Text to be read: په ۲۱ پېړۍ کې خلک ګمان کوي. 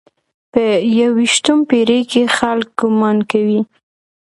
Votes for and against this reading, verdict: 0, 2, rejected